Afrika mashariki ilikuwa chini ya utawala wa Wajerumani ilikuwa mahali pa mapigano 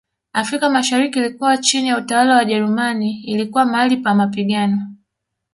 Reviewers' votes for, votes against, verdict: 1, 2, rejected